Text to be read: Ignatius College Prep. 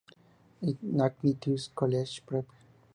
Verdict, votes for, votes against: accepted, 2, 0